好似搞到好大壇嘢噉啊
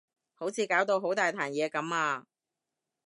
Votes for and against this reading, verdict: 2, 0, accepted